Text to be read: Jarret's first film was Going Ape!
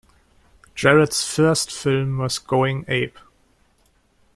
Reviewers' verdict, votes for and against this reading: accepted, 2, 0